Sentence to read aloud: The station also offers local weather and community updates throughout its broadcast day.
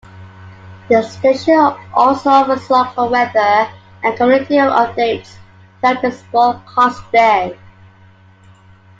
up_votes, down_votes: 2, 1